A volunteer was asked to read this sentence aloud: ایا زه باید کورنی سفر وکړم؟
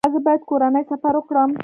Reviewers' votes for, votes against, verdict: 0, 2, rejected